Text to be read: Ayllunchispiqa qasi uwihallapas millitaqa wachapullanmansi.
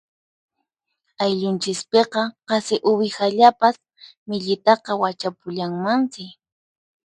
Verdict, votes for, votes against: accepted, 4, 0